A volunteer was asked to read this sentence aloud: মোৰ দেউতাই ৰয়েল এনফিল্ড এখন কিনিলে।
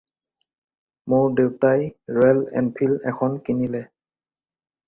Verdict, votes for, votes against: rejected, 2, 2